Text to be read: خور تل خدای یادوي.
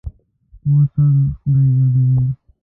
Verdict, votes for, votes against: rejected, 0, 2